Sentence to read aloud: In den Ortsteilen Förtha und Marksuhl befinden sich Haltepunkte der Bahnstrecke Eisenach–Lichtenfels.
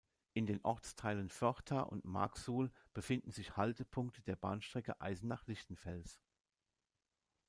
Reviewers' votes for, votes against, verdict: 2, 0, accepted